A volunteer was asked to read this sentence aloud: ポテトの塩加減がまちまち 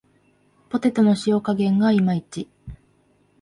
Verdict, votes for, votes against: rejected, 0, 2